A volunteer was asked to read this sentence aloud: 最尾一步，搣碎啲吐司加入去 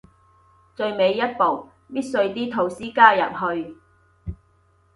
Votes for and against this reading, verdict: 2, 0, accepted